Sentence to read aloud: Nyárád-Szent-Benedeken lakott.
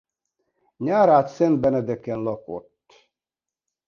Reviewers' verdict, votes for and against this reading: accepted, 2, 0